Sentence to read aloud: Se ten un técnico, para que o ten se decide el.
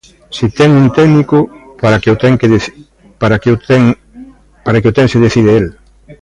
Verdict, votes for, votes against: rejected, 0, 2